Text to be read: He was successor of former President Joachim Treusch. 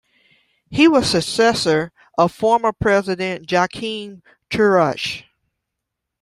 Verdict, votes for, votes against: rejected, 0, 2